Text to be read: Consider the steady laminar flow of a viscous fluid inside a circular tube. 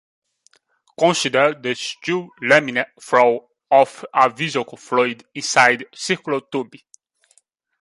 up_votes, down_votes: 1, 2